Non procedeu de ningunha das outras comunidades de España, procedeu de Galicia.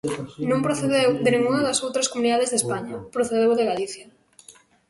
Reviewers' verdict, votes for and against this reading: rejected, 1, 2